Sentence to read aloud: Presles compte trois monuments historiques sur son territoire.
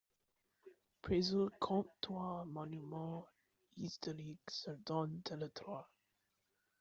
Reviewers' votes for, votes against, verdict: 0, 2, rejected